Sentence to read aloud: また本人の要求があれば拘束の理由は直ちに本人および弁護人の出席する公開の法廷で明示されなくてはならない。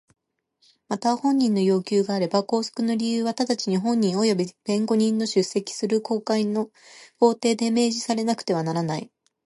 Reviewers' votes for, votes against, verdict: 2, 0, accepted